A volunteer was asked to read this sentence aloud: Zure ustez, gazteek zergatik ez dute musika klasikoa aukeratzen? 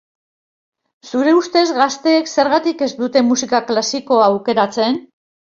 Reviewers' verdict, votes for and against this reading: accepted, 2, 0